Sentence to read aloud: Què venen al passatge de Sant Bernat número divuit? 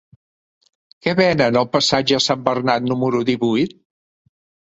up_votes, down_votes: 1, 2